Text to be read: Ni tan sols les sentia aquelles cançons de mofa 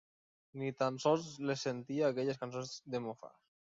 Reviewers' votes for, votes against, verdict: 3, 2, accepted